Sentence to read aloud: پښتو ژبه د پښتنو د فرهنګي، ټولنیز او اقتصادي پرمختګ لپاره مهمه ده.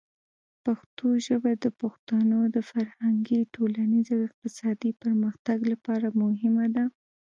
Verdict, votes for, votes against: accepted, 2, 0